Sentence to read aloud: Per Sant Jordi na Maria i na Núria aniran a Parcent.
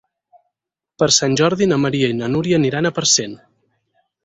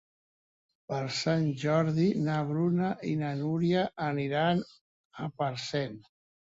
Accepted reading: first